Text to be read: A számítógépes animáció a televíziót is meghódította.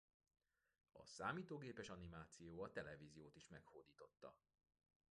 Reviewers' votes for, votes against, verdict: 2, 0, accepted